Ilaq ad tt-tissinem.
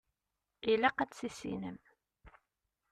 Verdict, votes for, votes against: accepted, 2, 0